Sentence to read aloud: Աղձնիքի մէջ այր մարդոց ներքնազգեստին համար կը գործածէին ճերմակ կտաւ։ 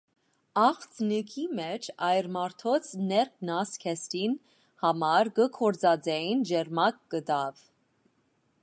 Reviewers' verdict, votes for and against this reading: accepted, 2, 1